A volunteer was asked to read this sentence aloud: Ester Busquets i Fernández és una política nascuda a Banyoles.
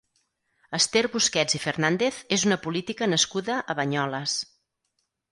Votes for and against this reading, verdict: 0, 4, rejected